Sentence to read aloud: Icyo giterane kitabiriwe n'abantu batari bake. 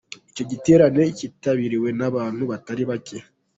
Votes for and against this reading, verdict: 2, 1, accepted